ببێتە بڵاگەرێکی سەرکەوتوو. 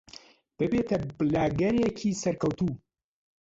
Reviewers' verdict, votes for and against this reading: rejected, 1, 2